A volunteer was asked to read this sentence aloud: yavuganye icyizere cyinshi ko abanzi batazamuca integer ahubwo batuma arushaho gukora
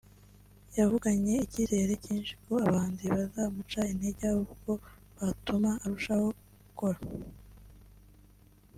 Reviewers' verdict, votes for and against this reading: rejected, 0, 2